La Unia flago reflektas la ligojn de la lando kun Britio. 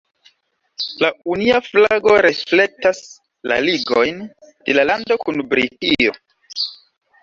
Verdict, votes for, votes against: rejected, 1, 2